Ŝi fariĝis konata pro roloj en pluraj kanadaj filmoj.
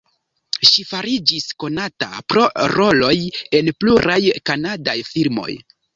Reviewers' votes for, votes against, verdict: 2, 0, accepted